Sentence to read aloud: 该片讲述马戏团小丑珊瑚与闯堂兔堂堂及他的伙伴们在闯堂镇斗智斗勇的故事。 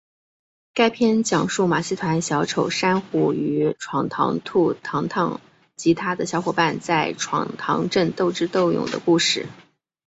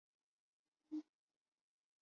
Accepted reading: first